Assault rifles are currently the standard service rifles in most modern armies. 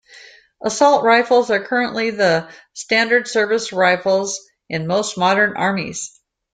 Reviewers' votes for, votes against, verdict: 2, 0, accepted